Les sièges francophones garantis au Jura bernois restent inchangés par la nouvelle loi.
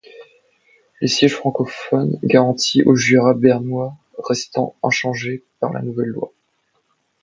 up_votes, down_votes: 2, 0